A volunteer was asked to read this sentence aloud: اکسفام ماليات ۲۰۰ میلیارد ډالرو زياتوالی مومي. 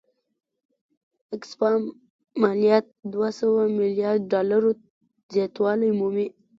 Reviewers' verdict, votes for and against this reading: rejected, 0, 2